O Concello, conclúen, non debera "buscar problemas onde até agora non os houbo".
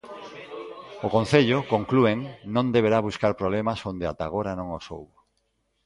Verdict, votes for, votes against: rejected, 0, 2